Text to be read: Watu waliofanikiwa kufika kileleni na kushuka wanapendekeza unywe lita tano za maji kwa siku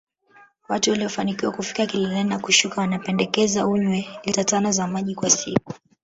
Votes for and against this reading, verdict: 0, 2, rejected